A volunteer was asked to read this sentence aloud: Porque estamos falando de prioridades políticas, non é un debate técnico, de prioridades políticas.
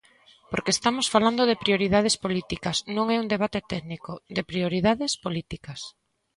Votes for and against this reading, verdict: 2, 0, accepted